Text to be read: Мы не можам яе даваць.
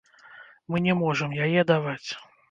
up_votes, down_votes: 2, 0